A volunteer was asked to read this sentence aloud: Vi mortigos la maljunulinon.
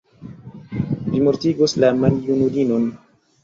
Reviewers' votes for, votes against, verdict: 2, 0, accepted